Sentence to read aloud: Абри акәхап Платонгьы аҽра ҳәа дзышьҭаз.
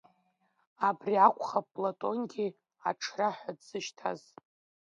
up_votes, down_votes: 2, 3